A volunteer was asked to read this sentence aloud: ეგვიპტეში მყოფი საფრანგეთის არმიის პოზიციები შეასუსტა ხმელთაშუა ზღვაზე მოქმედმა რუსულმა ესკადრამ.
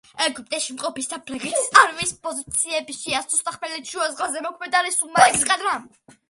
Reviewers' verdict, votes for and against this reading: accepted, 2, 0